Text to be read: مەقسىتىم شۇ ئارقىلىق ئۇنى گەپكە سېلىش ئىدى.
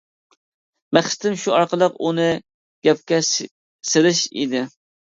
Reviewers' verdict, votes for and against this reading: rejected, 1, 2